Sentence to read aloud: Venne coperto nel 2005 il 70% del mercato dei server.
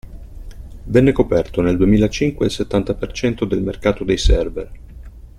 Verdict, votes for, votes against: rejected, 0, 2